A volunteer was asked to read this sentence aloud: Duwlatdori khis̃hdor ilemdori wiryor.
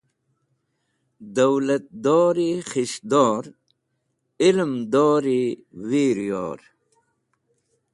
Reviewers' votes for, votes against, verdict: 2, 0, accepted